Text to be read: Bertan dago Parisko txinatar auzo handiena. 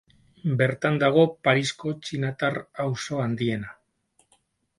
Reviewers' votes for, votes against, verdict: 4, 0, accepted